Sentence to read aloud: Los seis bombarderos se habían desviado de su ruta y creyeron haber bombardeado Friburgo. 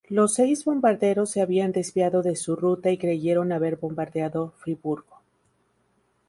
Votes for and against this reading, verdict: 2, 0, accepted